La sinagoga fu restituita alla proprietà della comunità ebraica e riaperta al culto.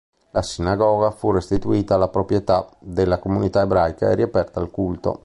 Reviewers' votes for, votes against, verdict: 2, 0, accepted